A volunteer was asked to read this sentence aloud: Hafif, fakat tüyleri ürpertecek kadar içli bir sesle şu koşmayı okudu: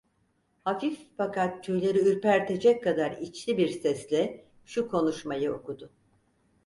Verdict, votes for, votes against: rejected, 2, 4